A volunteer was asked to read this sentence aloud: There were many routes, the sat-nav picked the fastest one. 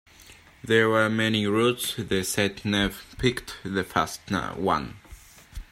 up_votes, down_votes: 0, 2